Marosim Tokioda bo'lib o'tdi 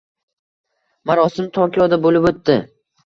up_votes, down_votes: 2, 0